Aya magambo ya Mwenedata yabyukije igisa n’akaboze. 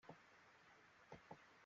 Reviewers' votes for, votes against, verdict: 0, 2, rejected